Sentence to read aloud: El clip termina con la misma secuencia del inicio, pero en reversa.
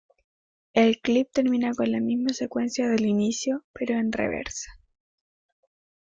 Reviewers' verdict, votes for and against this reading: accepted, 2, 0